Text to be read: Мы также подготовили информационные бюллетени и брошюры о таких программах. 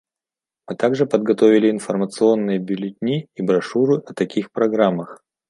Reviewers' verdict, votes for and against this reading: rejected, 0, 2